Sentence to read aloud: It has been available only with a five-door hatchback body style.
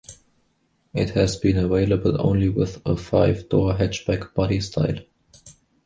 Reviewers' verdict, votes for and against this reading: accepted, 2, 0